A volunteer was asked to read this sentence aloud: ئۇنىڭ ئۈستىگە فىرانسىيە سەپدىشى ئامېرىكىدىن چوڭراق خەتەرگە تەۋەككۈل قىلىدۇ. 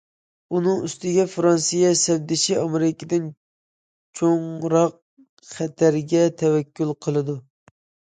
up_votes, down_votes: 2, 0